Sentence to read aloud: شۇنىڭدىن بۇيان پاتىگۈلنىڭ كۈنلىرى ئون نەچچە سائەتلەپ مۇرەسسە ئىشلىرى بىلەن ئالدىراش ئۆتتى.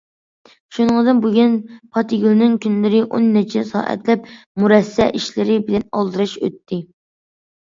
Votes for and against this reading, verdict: 1, 2, rejected